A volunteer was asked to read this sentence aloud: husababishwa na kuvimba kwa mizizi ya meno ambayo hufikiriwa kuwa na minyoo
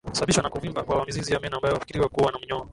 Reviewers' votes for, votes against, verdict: 3, 0, accepted